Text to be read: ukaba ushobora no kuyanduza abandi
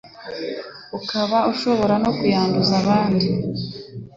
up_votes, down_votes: 2, 0